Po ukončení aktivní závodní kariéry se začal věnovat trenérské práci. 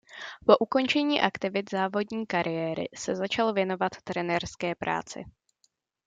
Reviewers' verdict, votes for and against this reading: rejected, 0, 2